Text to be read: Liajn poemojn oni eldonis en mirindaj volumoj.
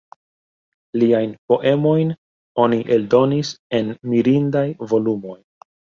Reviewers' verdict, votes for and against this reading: accepted, 2, 1